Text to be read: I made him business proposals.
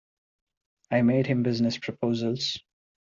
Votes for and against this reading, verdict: 2, 0, accepted